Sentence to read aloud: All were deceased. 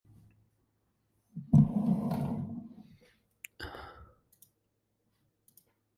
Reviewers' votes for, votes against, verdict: 0, 2, rejected